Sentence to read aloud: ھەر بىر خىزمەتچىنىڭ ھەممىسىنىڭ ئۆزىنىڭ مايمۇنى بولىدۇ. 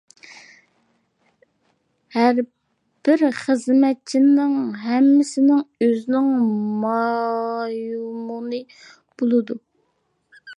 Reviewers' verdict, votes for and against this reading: accepted, 2, 1